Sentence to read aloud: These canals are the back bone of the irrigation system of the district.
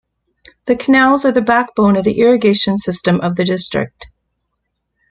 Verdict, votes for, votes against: rejected, 0, 2